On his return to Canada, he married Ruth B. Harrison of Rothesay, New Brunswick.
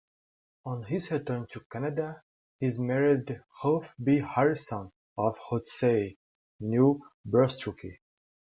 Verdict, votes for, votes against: rejected, 1, 2